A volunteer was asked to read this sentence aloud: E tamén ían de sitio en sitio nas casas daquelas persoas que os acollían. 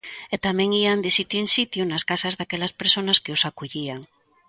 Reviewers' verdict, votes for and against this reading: rejected, 1, 2